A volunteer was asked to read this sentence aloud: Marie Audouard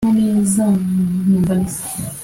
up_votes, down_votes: 0, 2